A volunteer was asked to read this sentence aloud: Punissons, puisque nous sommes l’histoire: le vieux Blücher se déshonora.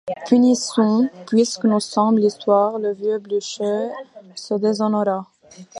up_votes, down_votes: 2, 0